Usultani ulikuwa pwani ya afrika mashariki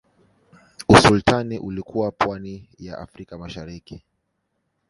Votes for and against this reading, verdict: 1, 2, rejected